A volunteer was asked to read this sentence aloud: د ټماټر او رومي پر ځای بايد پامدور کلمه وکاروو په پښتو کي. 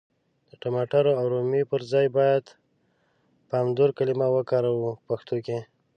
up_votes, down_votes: 2, 0